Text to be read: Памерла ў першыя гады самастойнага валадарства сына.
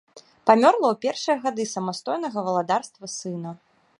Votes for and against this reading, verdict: 1, 2, rejected